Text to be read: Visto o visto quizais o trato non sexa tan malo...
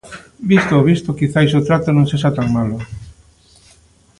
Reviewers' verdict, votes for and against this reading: accepted, 2, 0